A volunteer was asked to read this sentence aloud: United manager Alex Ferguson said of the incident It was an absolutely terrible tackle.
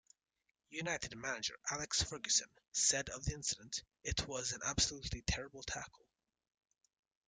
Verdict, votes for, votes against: accepted, 3, 1